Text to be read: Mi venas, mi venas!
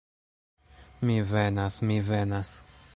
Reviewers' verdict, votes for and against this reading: accepted, 2, 1